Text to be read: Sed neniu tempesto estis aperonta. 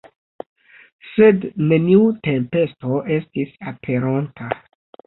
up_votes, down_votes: 2, 0